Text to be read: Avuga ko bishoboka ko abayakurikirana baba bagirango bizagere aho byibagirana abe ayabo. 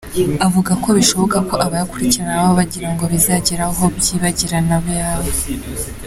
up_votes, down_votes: 3, 0